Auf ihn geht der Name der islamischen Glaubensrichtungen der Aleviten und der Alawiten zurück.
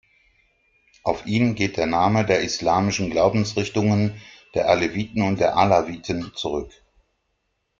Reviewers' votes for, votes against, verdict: 2, 0, accepted